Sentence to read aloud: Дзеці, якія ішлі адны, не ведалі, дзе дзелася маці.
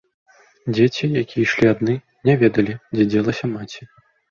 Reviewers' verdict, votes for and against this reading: accepted, 2, 0